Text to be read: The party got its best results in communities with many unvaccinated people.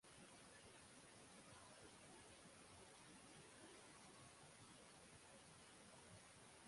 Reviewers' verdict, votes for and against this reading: rejected, 0, 6